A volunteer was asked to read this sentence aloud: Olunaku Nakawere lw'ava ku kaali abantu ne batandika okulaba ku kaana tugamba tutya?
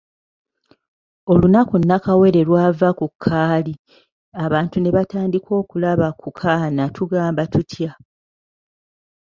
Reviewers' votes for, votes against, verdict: 3, 0, accepted